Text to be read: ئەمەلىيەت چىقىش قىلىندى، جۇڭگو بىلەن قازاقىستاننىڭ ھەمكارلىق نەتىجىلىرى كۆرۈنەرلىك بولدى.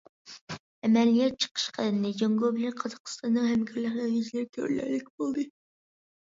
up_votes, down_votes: 0, 2